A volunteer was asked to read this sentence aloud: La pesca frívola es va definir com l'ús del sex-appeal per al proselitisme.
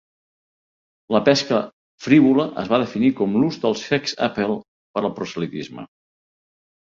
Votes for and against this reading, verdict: 0, 2, rejected